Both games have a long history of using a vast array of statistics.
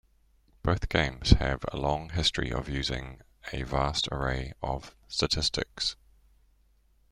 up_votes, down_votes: 1, 2